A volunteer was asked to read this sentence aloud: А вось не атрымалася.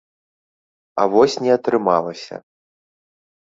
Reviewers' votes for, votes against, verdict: 2, 0, accepted